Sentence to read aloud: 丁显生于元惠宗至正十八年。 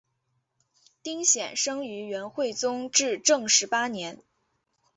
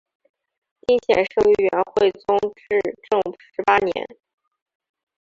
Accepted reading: first